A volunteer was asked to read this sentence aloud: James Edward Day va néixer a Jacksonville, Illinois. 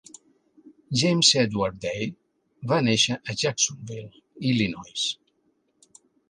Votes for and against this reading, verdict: 3, 0, accepted